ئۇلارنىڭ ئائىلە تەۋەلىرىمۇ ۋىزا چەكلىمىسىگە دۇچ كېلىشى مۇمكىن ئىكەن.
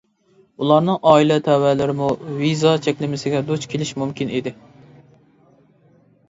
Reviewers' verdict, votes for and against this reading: rejected, 1, 2